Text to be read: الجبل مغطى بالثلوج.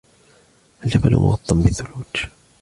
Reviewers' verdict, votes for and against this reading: accepted, 2, 0